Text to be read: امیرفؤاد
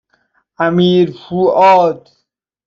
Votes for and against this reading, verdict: 2, 0, accepted